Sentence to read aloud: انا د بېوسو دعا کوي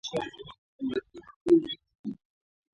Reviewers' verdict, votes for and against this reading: rejected, 0, 6